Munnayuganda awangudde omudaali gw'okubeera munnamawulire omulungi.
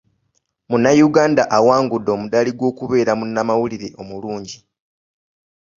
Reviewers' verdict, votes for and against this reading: accepted, 2, 0